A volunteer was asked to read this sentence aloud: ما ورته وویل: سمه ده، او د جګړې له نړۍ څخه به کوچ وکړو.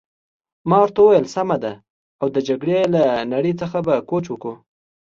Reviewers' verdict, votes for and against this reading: accepted, 2, 0